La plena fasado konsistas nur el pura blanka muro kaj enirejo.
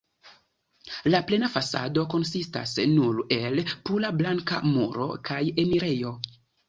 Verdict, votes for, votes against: accepted, 2, 0